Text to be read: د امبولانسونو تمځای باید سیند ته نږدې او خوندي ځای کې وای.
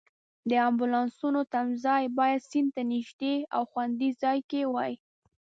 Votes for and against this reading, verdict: 2, 0, accepted